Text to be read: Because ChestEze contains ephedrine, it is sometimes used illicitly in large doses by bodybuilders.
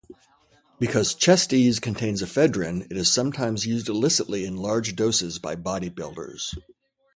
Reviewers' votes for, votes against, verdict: 2, 0, accepted